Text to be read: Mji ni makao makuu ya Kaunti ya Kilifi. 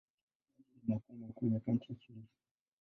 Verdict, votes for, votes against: rejected, 0, 2